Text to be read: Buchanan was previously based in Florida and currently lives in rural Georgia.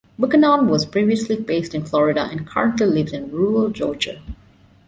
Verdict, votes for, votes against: rejected, 1, 2